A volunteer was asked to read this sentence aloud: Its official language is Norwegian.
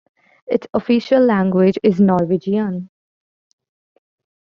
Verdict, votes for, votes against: accepted, 2, 1